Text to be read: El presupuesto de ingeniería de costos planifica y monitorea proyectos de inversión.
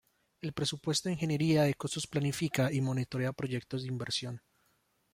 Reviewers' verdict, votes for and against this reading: rejected, 1, 2